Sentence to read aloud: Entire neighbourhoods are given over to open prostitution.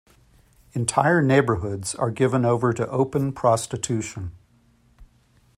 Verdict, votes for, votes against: accepted, 2, 0